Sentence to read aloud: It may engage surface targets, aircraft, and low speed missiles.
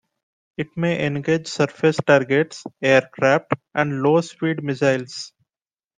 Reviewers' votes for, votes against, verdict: 2, 0, accepted